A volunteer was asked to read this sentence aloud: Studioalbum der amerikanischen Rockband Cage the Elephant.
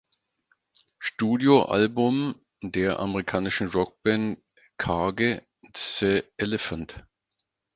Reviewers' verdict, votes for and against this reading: rejected, 0, 4